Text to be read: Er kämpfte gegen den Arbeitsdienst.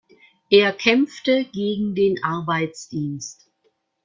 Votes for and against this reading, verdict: 2, 0, accepted